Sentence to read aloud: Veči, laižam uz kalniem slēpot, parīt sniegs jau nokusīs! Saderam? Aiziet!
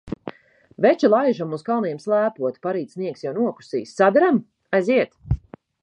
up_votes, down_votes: 2, 0